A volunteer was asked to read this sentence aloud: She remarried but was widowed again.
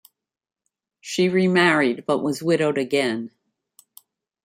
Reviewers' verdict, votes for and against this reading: accepted, 3, 0